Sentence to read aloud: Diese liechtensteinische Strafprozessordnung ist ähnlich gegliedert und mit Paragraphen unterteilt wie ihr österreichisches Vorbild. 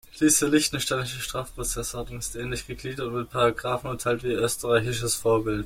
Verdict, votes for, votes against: rejected, 1, 2